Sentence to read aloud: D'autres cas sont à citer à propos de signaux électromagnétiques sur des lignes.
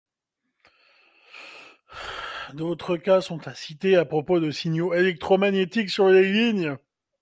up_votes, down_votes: 2, 1